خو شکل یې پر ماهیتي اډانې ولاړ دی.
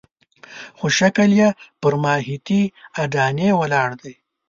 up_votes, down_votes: 2, 0